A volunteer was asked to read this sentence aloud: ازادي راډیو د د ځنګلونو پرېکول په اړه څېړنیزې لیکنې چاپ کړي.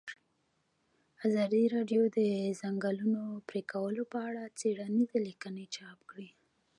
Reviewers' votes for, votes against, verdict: 2, 1, accepted